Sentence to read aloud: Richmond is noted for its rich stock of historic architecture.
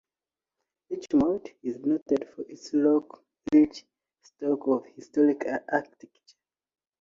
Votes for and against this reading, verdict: 0, 2, rejected